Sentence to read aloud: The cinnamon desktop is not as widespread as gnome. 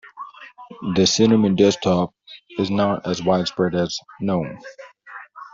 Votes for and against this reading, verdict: 2, 0, accepted